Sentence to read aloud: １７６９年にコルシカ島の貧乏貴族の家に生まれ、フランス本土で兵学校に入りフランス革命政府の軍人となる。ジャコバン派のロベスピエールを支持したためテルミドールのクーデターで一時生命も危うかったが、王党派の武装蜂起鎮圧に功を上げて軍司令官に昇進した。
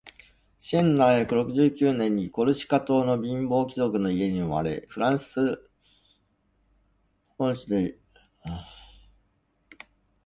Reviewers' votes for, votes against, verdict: 0, 2, rejected